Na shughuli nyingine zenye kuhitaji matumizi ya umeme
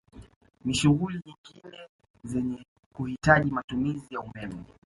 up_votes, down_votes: 1, 2